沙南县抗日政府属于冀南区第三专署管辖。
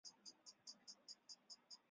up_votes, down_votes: 0, 2